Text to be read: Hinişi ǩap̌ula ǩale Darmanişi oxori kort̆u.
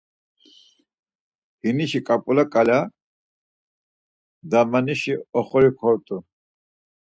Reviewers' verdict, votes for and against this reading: rejected, 0, 4